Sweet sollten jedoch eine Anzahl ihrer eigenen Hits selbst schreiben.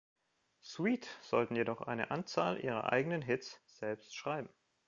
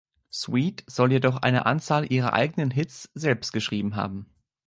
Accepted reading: first